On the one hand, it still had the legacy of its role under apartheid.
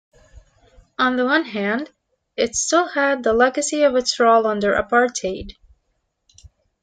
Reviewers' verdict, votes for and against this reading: accepted, 2, 0